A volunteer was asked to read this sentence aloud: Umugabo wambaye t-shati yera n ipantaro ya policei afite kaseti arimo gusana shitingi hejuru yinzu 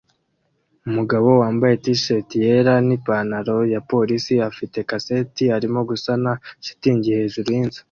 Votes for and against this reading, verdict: 2, 0, accepted